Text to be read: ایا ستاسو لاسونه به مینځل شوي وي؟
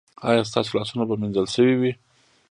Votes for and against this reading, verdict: 2, 0, accepted